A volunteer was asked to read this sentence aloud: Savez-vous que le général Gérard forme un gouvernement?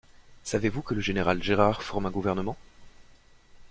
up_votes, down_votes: 2, 0